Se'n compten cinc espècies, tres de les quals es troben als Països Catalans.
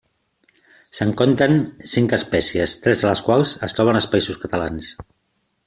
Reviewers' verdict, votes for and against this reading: accepted, 2, 0